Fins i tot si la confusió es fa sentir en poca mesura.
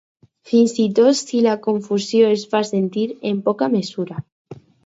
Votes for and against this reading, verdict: 4, 0, accepted